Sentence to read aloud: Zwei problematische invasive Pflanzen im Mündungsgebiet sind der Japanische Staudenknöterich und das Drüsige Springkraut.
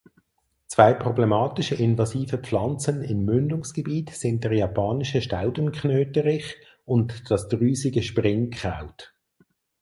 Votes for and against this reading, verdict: 4, 0, accepted